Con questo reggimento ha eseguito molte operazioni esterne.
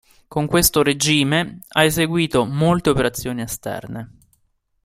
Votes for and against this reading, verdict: 1, 2, rejected